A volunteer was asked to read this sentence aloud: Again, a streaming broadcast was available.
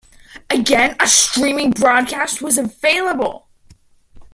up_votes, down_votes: 2, 1